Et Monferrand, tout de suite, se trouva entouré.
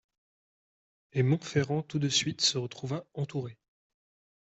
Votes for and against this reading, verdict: 0, 2, rejected